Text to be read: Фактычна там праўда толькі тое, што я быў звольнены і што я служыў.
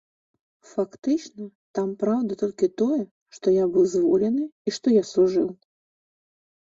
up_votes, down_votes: 1, 2